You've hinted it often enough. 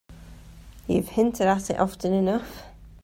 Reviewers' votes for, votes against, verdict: 0, 2, rejected